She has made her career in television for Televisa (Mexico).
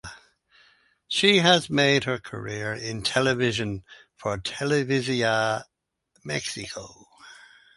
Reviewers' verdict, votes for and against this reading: rejected, 0, 4